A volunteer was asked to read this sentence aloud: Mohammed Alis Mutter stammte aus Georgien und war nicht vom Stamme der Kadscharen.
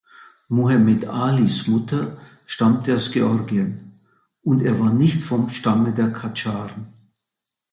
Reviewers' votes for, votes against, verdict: 0, 2, rejected